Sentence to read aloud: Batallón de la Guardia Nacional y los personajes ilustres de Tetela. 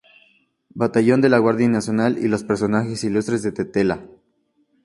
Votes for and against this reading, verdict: 2, 0, accepted